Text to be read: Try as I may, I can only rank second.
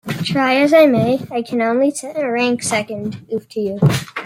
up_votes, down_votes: 1, 2